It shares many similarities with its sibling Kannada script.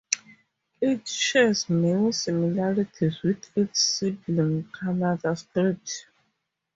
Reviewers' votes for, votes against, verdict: 2, 0, accepted